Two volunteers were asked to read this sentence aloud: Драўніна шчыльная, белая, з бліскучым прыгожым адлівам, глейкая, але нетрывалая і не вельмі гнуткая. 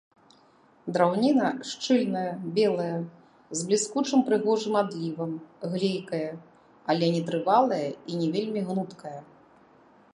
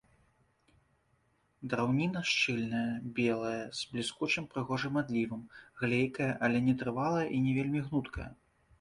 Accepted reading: second